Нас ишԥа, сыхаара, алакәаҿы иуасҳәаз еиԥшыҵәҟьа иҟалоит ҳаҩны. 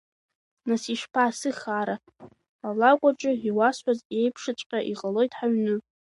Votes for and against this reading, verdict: 2, 0, accepted